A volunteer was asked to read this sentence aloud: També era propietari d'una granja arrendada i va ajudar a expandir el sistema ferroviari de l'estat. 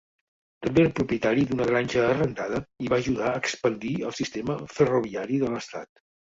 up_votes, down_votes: 0, 2